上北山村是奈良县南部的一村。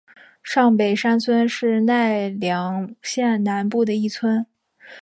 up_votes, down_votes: 5, 0